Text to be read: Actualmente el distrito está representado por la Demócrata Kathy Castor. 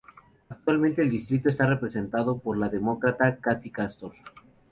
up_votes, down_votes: 4, 0